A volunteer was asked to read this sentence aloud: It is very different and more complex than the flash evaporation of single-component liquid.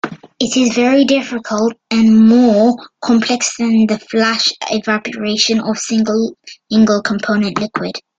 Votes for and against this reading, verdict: 0, 2, rejected